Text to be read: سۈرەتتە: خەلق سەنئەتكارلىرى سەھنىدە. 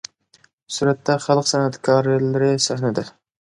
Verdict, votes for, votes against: accepted, 2, 1